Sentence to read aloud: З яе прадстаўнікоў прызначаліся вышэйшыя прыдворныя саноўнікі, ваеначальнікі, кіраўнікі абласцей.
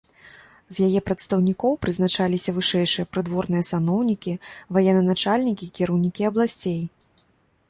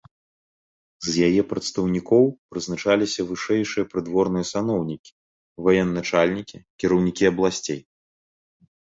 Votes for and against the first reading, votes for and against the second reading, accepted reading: 1, 2, 2, 0, second